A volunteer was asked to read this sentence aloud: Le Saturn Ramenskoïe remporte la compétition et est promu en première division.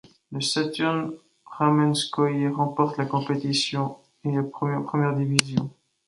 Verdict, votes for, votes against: accepted, 2, 1